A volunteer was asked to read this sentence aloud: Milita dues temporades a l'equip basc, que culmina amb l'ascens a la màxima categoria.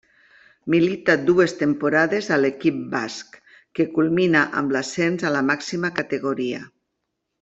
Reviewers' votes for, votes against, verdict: 2, 0, accepted